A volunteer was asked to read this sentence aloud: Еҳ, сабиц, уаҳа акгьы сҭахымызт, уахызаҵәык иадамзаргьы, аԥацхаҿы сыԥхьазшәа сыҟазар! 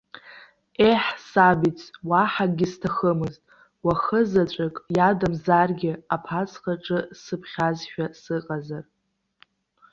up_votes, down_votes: 1, 2